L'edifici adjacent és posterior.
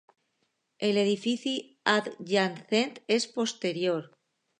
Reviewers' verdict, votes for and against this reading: rejected, 0, 2